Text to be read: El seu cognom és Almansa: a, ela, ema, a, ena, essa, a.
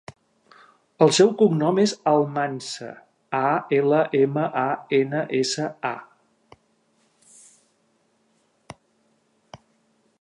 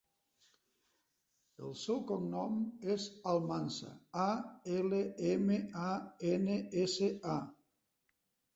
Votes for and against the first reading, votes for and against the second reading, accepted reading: 2, 0, 1, 2, first